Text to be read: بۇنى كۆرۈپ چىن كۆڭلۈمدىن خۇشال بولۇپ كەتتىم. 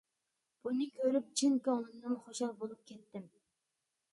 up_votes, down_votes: 0, 2